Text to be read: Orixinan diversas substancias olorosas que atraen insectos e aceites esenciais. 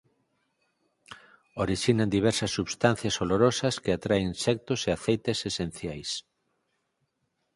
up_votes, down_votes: 4, 0